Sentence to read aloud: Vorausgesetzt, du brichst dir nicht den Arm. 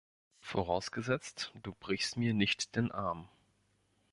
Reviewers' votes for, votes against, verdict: 0, 2, rejected